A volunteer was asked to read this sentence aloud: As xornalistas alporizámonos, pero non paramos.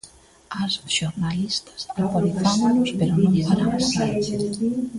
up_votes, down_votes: 0, 2